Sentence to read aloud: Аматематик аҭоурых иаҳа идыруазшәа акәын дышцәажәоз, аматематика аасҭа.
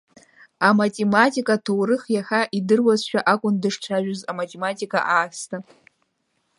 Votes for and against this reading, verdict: 2, 0, accepted